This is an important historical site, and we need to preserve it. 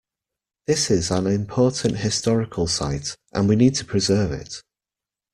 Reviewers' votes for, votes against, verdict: 2, 0, accepted